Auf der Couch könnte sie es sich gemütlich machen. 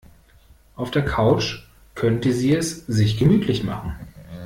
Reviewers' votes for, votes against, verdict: 2, 0, accepted